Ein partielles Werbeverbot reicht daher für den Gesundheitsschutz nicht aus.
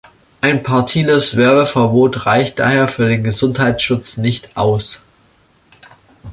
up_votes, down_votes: 0, 2